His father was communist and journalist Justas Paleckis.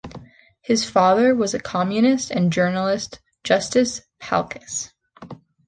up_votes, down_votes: 0, 3